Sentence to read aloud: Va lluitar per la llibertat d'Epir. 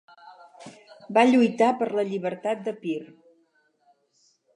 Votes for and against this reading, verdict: 2, 2, rejected